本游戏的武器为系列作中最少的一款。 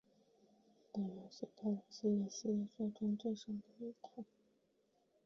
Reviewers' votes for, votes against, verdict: 0, 3, rejected